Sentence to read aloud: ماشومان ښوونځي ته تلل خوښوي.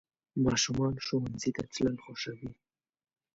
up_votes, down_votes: 0, 2